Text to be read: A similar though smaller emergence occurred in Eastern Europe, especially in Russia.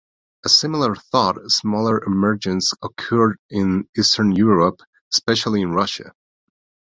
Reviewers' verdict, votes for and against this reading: rejected, 0, 2